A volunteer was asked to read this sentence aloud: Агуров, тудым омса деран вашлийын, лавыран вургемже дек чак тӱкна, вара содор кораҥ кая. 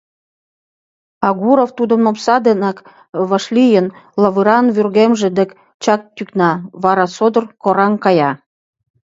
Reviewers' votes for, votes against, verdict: 1, 2, rejected